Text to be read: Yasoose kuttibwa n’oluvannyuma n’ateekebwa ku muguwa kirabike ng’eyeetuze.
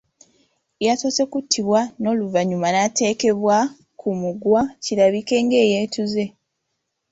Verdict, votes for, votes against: accepted, 2, 1